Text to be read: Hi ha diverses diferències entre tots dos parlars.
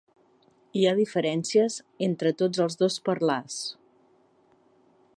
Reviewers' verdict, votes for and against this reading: rejected, 1, 2